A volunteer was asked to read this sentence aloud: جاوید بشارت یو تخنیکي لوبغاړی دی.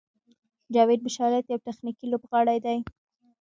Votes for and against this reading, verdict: 1, 2, rejected